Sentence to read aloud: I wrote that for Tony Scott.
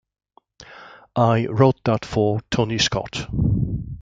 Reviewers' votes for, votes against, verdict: 2, 0, accepted